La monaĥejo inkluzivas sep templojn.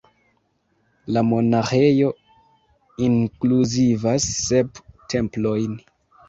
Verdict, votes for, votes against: accepted, 2, 0